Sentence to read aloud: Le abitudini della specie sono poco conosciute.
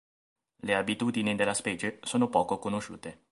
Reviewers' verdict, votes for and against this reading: accepted, 2, 0